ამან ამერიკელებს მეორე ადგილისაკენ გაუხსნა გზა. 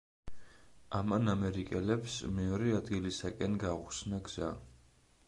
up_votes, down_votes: 2, 0